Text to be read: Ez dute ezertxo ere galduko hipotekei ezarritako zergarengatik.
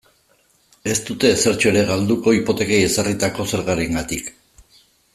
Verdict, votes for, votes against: accepted, 2, 0